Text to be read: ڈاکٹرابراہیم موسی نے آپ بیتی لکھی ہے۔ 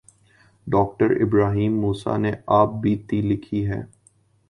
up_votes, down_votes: 2, 0